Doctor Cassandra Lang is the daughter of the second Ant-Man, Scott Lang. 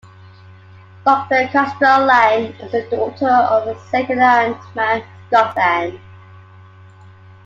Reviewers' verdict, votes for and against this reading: rejected, 1, 2